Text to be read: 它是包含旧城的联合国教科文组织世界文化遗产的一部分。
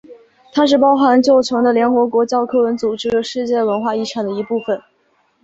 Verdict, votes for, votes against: accepted, 2, 1